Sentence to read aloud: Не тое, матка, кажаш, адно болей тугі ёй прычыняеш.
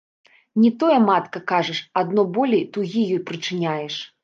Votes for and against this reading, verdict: 2, 1, accepted